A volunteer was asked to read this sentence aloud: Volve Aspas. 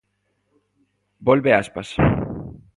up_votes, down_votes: 2, 0